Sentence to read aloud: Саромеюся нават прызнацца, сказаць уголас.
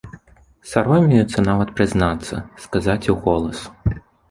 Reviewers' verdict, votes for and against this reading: rejected, 1, 2